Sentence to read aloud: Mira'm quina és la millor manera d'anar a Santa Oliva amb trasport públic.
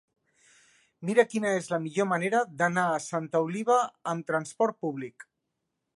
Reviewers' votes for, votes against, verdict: 0, 2, rejected